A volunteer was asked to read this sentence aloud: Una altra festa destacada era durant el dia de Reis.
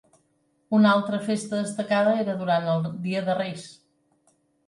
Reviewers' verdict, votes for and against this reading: rejected, 0, 2